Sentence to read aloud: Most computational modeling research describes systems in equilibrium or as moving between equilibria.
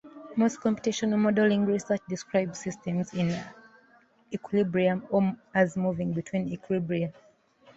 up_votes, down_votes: 0, 2